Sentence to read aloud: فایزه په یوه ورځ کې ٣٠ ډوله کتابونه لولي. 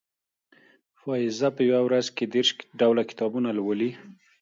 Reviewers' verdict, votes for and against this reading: rejected, 0, 2